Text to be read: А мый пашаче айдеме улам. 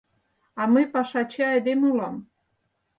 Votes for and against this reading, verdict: 4, 0, accepted